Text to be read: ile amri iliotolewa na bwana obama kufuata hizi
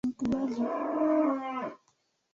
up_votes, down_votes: 0, 3